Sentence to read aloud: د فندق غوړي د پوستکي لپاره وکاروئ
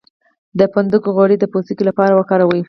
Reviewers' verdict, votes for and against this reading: rejected, 0, 2